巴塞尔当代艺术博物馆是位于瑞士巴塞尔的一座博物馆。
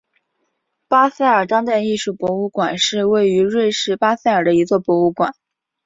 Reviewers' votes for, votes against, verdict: 4, 0, accepted